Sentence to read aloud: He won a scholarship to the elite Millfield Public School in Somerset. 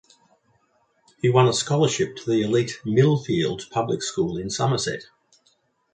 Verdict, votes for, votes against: accepted, 2, 0